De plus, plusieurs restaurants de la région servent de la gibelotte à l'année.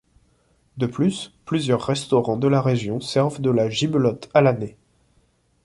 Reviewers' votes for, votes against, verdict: 2, 0, accepted